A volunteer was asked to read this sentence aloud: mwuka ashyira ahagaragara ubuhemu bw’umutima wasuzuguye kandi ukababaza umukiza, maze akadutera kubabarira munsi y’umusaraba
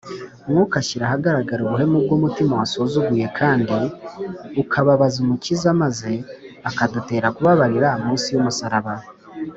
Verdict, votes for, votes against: accepted, 3, 0